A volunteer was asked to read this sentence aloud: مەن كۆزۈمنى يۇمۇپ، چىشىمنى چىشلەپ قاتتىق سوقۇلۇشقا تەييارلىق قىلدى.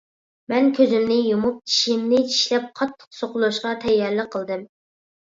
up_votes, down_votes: 2, 0